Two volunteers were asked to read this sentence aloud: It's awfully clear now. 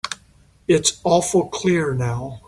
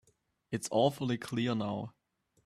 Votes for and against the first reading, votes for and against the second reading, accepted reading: 1, 3, 2, 0, second